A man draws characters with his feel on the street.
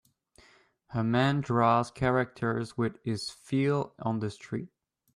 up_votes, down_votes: 2, 0